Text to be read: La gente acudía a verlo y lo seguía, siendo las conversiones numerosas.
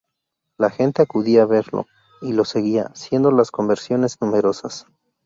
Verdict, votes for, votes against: accepted, 2, 0